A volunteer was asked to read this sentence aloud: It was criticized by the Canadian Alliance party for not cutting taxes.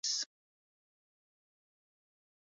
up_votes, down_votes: 0, 2